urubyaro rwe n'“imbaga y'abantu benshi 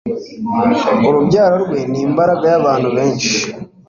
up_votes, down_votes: 2, 0